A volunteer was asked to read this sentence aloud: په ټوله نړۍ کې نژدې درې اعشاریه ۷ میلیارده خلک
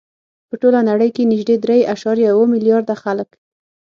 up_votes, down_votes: 0, 2